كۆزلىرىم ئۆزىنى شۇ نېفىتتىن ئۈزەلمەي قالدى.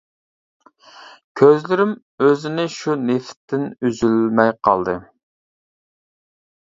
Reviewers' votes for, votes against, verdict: 0, 2, rejected